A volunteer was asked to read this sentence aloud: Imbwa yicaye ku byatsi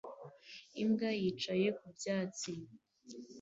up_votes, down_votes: 2, 0